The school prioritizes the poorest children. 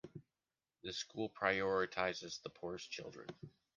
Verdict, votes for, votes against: accepted, 2, 1